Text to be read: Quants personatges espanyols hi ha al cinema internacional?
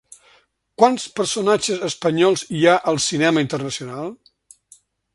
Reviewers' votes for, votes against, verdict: 2, 0, accepted